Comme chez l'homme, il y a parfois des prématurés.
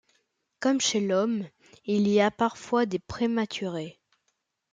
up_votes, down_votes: 2, 0